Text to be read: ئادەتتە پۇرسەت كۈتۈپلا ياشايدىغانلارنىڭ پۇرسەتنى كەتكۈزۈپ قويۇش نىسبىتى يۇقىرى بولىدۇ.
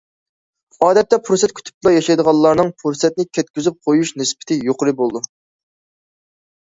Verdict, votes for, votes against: accepted, 2, 0